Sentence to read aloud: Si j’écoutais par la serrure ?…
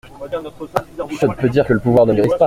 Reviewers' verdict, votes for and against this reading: rejected, 0, 2